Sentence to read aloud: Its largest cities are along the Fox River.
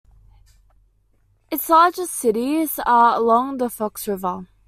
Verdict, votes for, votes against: accepted, 2, 0